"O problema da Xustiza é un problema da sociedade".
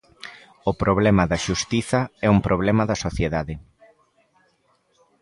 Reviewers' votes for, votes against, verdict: 2, 1, accepted